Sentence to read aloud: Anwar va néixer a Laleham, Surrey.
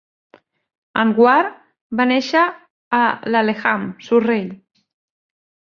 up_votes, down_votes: 1, 2